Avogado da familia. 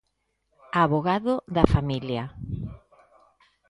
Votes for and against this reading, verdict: 2, 1, accepted